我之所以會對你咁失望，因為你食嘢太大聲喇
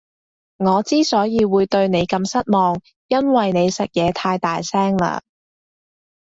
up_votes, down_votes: 0, 2